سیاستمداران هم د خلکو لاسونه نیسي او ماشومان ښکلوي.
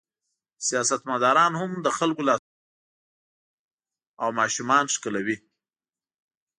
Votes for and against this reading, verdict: 0, 2, rejected